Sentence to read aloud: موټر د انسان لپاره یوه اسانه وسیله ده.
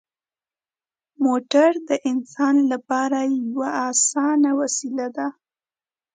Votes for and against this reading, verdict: 2, 0, accepted